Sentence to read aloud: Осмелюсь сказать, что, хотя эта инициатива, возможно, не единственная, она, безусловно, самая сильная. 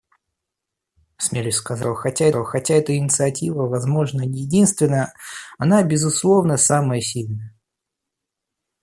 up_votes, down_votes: 0, 2